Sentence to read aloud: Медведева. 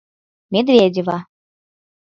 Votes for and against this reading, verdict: 6, 0, accepted